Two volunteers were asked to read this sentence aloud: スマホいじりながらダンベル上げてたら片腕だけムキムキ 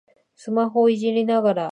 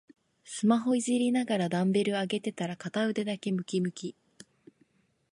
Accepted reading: second